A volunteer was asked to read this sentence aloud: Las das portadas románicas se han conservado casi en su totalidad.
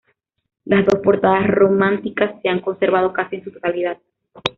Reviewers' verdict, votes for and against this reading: rejected, 0, 2